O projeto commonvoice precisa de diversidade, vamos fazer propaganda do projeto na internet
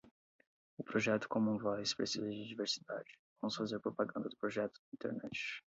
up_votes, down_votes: 8, 0